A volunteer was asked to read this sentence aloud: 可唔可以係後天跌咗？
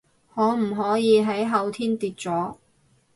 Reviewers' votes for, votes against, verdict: 0, 4, rejected